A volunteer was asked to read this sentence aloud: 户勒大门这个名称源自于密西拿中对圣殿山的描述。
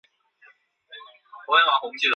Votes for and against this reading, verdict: 0, 3, rejected